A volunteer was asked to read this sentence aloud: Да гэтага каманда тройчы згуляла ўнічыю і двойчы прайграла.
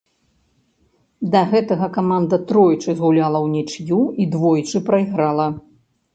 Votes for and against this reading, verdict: 0, 2, rejected